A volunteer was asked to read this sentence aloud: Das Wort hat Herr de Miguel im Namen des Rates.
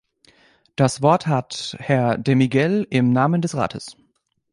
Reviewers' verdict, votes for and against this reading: accepted, 2, 0